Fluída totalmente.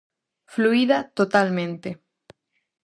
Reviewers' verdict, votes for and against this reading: accepted, 4, 0